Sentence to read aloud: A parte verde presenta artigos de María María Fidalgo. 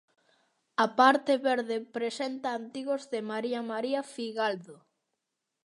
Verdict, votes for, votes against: accepted, 2, 0